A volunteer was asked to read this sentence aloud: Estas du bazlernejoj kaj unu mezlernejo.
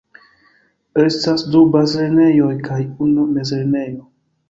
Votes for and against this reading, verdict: 0, 2, rejected